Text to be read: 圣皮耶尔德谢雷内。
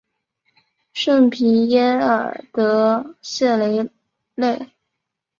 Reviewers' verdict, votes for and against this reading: accepted, 6, 2